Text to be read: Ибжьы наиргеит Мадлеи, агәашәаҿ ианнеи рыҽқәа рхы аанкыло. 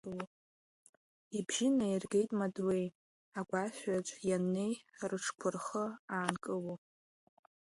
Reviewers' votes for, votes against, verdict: 2, 1, accepted